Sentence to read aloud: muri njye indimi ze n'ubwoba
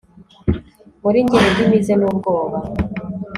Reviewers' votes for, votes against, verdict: 2, 0, accepted